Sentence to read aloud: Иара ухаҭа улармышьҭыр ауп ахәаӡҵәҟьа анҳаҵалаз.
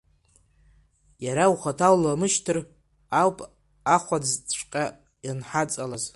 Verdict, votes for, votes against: rejected, 0, 2